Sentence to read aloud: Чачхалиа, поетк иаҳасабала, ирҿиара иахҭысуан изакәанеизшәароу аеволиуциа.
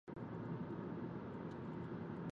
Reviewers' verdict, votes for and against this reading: rejected, 0, 2